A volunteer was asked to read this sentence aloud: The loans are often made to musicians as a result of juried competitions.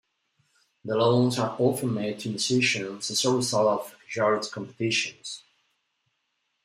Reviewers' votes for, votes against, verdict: 0, 2, rejected